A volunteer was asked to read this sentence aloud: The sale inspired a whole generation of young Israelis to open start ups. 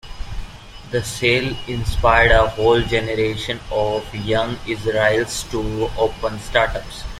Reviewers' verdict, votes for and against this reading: rejected, 0, 2